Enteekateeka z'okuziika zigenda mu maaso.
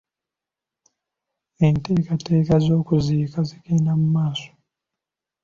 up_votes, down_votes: 3, 0